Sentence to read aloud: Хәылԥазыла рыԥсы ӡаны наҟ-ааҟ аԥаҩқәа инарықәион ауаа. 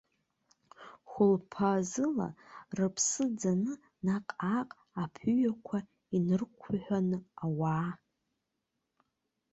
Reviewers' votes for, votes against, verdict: 0, 2, rejected